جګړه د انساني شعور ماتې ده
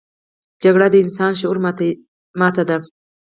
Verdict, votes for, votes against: accepted, 4, 0